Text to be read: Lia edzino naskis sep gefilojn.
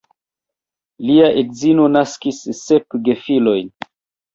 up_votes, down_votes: 1, 2